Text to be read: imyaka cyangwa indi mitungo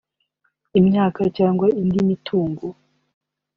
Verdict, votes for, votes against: accepted, 2, 0